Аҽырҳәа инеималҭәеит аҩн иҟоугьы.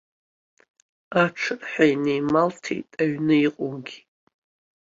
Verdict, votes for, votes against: accepted, 2, 0